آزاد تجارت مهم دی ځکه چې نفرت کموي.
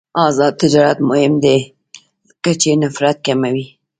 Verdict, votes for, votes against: rejected, 1, 2